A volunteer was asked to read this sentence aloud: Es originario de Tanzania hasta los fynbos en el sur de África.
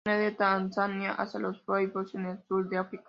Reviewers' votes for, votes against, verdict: 0, 2, rejected